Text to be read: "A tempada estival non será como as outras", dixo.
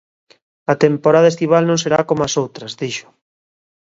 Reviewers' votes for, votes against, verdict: 0, 2, rejected